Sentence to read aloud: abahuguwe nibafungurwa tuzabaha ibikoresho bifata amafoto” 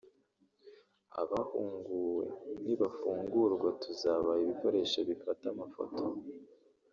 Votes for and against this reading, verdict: 1, 2, rejected